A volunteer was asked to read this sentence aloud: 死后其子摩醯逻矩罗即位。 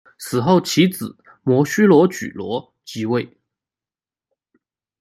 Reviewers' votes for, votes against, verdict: 1, 2, rejected